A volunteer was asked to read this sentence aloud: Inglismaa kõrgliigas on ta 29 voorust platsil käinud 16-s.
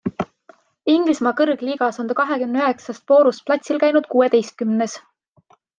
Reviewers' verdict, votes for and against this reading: rejected, 0, 2